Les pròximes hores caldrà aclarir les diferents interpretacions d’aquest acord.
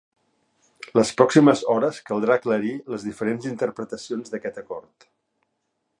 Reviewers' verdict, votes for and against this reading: accepted, 2, 0